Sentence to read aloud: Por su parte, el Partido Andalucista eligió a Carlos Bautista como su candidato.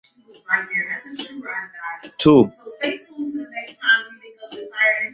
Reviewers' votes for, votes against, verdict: 0, 2, rejected